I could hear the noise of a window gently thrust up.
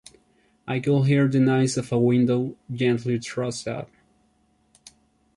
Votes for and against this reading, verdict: 0, 2, rejected